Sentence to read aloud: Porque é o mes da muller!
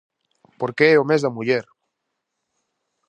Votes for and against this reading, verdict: 2, 0, accepted